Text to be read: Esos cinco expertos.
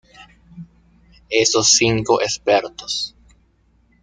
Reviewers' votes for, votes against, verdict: 1, 2, rejected